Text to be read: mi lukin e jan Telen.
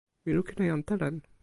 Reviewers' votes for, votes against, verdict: 2, 0, accepted